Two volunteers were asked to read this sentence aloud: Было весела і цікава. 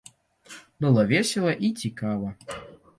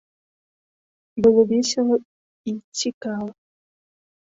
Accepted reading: second